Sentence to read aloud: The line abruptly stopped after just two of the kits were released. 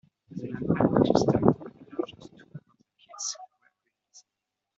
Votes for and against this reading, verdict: 0, 2, rejected